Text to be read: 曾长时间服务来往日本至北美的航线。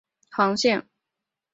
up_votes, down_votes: 1, 3